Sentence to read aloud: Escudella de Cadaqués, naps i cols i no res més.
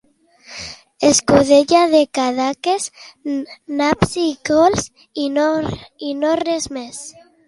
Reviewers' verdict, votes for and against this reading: rejected, 1, 2